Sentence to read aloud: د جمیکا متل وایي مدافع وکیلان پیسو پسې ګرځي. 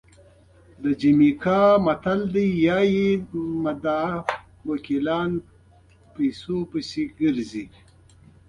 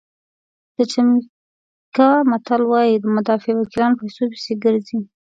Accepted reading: second